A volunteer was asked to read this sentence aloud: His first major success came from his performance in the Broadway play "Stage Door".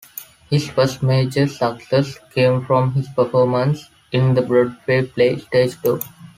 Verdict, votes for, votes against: accepted, 2, 1